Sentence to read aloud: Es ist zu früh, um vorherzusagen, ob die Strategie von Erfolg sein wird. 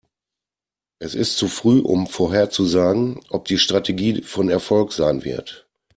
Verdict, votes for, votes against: accepted, 2, 0